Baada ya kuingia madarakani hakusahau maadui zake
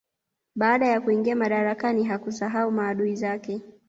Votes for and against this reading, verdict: 2, 0, accepted